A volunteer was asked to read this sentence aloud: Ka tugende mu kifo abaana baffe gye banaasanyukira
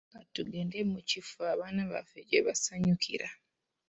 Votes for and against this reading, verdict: 0, 2, rejected